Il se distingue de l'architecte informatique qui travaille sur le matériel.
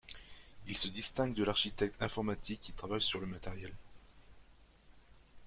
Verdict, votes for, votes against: accepted, 2, 0